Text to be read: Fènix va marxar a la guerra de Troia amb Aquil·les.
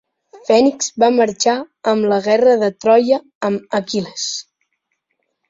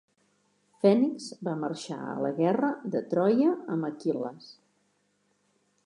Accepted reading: second